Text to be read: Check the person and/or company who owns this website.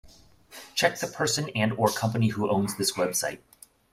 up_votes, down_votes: 2, 0